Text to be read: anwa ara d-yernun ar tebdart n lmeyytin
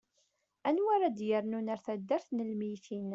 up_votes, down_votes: 2, 0